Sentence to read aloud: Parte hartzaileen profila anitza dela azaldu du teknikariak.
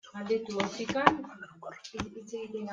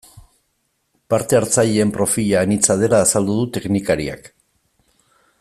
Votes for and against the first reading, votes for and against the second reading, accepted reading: 0, 2, 2, 0, second